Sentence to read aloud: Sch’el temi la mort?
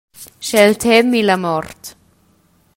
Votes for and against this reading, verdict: 1, 2, rejected